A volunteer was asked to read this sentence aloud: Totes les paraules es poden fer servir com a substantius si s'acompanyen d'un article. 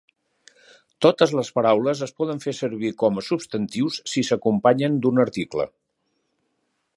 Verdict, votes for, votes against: accepted, 4, 0